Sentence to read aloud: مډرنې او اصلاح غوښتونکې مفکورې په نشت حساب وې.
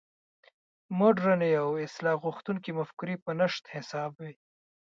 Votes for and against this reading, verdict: 2, 1, accepted